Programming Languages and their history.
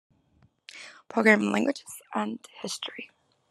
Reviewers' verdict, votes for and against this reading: rejected, 1, 2